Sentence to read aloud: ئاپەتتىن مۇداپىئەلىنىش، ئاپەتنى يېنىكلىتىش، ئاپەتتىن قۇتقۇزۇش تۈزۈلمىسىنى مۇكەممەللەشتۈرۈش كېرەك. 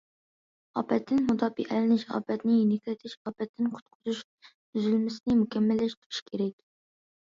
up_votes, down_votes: 2, 0